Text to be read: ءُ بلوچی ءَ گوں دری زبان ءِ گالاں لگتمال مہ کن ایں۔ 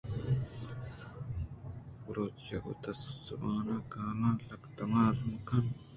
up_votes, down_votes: 2, 1